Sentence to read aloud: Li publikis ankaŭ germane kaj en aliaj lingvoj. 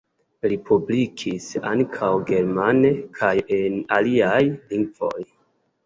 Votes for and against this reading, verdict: 3, 0, accepted